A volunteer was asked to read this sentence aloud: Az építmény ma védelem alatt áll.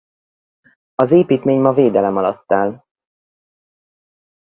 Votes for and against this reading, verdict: 2, 2, rejected